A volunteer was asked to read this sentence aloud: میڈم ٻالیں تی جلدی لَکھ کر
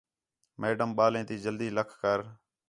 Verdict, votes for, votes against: accepted, 4, 0